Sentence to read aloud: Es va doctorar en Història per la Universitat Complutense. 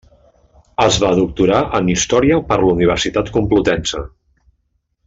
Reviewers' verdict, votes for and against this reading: accepted, 2, 0